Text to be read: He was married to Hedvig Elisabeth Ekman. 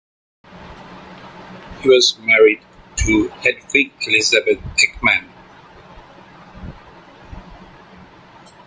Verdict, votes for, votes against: accepted, 2, 0